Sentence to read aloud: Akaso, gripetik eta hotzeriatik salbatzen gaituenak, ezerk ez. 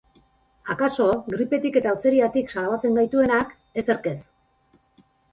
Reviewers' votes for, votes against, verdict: 2, 0, accepted